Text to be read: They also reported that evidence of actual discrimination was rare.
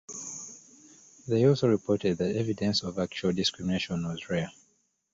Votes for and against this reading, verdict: 2, 0, accepted